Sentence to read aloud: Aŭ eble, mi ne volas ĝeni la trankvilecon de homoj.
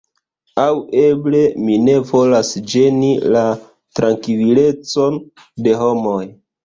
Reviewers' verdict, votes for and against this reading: rejected, 1, 3